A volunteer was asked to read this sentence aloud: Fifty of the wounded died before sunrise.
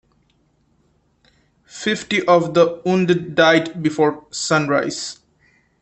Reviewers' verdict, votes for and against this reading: accepted, 2, 1